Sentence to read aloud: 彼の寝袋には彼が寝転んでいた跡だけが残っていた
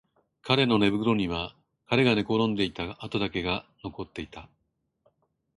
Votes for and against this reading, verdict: 1, 2, rejected